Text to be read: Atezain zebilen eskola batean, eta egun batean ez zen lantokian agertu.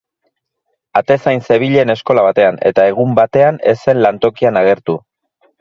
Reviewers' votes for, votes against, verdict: 4, 0, accepted